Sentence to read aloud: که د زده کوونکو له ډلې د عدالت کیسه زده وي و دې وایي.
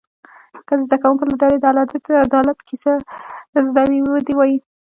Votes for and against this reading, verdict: 0, 2, rejected